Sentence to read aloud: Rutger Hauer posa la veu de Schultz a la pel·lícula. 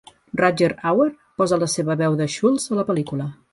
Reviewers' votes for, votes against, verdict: 1, 2, rejected